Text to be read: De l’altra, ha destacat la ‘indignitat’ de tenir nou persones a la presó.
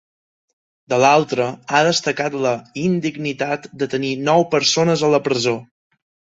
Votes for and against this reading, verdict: 2, 0, accepted